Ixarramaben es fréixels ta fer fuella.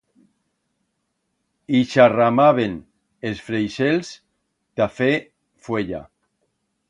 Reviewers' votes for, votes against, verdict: 1, 2, rejected